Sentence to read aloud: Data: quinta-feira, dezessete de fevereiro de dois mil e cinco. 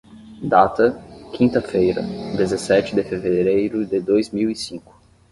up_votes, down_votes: 5, 5